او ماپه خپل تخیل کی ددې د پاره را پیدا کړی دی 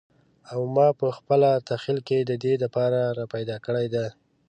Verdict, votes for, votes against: rejected, 0, 2